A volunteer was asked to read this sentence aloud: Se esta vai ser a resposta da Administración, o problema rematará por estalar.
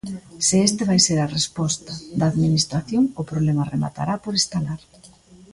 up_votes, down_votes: 3, 0